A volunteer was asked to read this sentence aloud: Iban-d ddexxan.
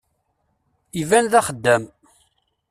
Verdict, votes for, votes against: rejected, 0, 2